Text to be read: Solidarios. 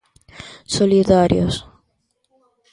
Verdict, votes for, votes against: accepted, 2, 1